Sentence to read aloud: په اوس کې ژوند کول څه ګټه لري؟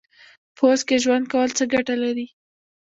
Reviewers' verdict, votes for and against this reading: rejected, 0, 2